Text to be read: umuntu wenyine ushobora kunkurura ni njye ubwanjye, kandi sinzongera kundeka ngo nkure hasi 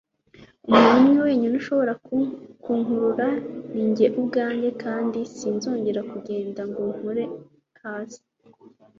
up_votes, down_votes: 2, 1